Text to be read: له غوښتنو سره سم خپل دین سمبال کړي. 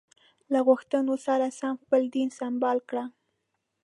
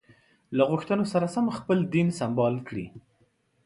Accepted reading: second